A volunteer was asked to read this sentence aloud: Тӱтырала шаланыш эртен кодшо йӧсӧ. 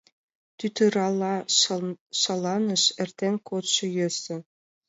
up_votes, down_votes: 0, 2